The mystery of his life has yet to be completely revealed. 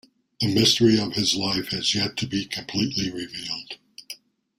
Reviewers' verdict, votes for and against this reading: accepted, 2, 0